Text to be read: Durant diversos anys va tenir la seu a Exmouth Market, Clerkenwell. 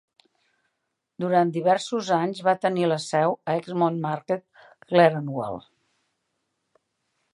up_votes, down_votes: 2, 1